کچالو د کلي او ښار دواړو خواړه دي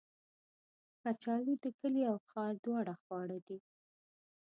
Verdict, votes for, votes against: rejected, 1, 2